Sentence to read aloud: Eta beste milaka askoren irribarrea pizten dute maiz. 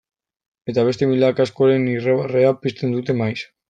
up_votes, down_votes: 0, 2